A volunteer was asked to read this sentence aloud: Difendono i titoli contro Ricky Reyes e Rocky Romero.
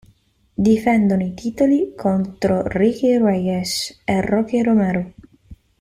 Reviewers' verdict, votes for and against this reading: accepted, 2, 1